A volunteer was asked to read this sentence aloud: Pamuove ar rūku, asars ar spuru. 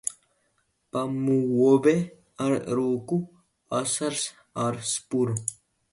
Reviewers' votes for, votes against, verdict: 1, 2, rejected